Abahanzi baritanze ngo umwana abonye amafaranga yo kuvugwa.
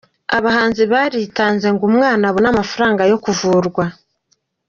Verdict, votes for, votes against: accepted, 2, 0